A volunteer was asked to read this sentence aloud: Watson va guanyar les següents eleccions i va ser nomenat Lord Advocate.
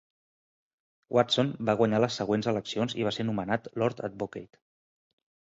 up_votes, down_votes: 1, 2